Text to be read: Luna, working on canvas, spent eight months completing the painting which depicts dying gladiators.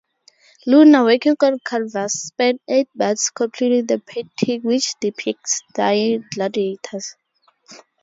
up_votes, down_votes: 2, 2